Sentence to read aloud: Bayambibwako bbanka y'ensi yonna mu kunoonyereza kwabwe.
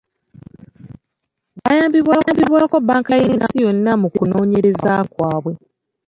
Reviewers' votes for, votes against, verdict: 0, 2, rejected